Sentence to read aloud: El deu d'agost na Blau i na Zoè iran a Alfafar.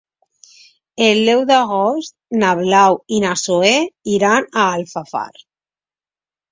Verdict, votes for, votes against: rejected, 0, 2